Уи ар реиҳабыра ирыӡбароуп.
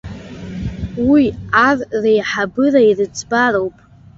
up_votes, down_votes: 1, 2